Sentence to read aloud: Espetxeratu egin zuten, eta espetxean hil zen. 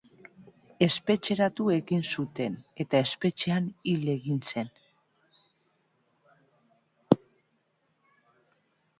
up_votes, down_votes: 1, 2